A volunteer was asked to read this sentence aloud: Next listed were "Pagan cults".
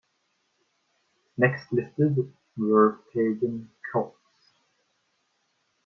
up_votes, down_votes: 1, 2